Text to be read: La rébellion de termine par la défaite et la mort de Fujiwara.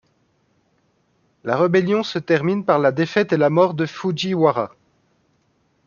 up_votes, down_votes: 1, 2